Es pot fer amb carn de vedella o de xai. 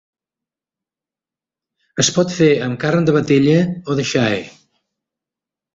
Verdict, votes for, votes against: accepted, 2, 0